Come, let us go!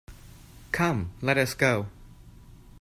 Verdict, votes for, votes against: accepted, 2, 0